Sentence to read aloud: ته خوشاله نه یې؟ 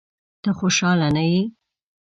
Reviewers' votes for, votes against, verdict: 2, 0, accepted